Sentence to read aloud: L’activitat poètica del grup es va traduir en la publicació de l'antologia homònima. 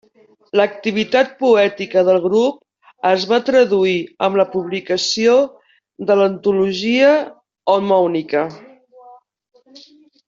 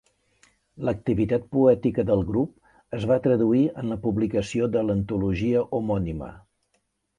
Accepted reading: second